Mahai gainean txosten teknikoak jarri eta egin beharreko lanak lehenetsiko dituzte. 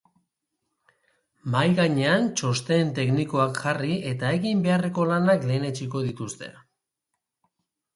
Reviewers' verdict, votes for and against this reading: accepted, 3, 0